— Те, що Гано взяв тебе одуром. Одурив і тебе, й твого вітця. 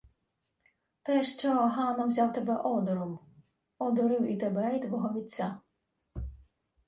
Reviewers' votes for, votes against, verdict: 2, 0, accepted